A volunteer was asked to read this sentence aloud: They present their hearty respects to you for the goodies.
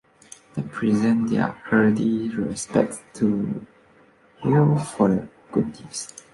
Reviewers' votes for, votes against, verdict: 0, 2, rejected